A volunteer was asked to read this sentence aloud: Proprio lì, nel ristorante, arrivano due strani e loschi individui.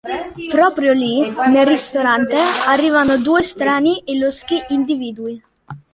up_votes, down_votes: 2, 0